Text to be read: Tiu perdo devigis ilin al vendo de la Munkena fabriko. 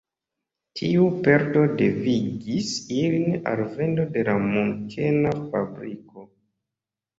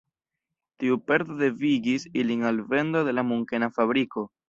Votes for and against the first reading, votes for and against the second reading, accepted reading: 2, 1, 1, 2, first